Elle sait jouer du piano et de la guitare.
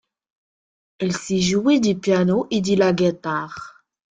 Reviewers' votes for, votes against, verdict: 0, 2, rejected